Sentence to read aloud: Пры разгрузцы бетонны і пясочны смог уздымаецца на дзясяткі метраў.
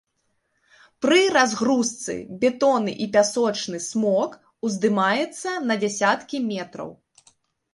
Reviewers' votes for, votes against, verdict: 3, 0, accepted